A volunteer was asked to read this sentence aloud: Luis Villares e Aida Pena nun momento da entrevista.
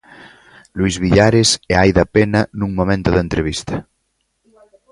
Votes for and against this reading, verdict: 3, 0, accepted